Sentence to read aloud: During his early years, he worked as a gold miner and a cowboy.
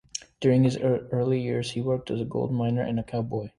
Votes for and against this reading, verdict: 0, 2, rejected